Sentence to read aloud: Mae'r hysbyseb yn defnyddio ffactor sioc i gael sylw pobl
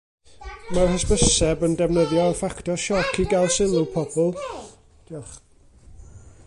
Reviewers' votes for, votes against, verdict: 0, 2, rejected